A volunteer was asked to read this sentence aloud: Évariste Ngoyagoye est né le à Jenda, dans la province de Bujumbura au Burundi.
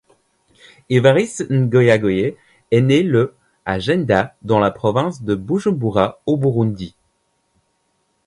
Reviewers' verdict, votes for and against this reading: accepted, 2, 0